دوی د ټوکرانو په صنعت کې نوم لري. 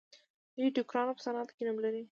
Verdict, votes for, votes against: rejected, 1, 2